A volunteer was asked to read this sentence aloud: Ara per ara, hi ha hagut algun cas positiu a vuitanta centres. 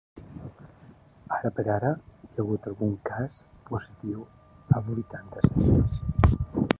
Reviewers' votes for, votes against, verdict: 1, 4, rejected